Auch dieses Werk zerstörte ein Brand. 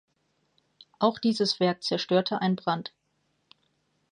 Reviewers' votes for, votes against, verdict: 2, 0, accepted